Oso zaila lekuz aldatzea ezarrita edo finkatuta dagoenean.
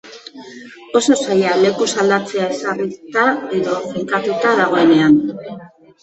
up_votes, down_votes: 1, 2